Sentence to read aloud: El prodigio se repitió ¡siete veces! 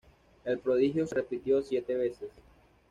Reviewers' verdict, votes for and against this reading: accepted, 2, 0